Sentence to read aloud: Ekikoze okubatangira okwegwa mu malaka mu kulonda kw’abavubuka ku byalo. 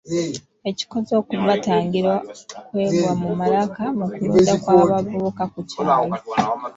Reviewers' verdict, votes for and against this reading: rejected, 1, 3